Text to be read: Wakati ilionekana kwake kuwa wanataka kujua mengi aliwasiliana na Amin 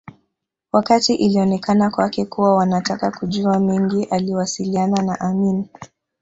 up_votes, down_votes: 2, 1